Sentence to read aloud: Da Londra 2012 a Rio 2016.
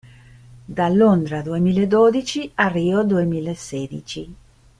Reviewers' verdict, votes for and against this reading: rejected, 0, 2